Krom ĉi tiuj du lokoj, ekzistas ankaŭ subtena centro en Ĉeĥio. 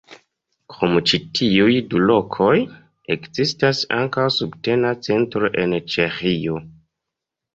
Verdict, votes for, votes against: accepted, 2, 0